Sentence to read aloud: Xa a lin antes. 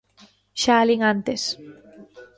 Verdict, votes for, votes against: rejected, 1, 2